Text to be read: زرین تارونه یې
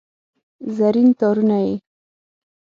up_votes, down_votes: 6, 0